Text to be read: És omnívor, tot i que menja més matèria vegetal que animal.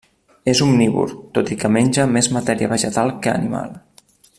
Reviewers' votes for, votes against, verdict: 3, 0, accepted